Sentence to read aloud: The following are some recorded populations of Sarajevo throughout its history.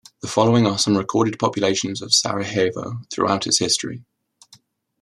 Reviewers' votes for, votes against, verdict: 2, 0, accepted